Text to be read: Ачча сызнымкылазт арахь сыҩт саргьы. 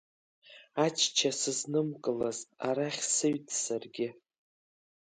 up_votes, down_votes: 2, 1